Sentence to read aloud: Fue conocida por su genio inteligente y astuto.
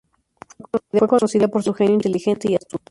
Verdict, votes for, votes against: rejected, 0, 2